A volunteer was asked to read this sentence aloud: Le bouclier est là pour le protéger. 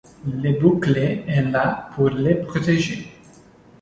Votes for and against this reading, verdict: 2, 1, accepted